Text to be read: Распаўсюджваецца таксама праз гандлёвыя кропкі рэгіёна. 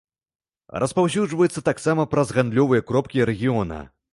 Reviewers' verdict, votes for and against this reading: rejected, 0, 2